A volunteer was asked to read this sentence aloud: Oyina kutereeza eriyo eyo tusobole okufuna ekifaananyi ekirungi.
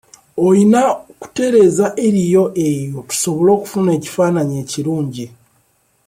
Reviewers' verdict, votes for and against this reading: accepted, 2, 0